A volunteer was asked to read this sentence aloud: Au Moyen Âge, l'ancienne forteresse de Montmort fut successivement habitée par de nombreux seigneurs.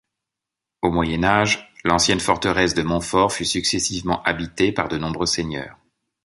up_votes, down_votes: 1, 2